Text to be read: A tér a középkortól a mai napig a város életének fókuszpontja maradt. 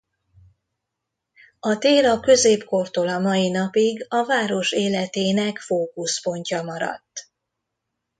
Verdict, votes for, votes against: accepted, 2, 0